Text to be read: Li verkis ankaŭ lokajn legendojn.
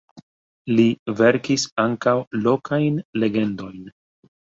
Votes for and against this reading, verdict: 2, 1, accepted